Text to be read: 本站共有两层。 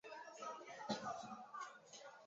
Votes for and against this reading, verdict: 0, 2, rejected